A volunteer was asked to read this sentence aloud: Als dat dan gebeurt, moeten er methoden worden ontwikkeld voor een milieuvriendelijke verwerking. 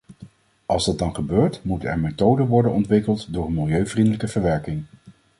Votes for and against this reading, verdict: 0, 2, rejected